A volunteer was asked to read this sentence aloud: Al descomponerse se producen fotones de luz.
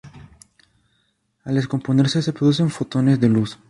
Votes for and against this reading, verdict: 2, 0, accepted